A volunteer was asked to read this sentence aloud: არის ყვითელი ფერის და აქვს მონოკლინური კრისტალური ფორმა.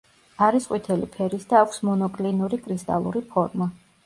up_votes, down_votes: 2, 0